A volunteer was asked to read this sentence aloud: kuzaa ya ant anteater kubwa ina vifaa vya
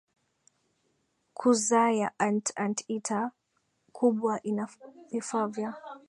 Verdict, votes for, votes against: accepted, 2, 0